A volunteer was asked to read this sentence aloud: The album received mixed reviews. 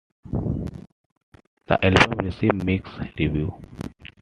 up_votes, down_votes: 1, 2